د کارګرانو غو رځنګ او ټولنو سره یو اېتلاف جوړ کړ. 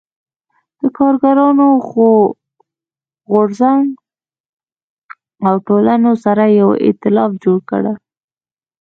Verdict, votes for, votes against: accepted, 2, 1